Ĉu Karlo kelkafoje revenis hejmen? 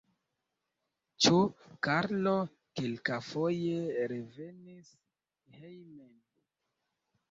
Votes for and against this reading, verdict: 1, 2, rejected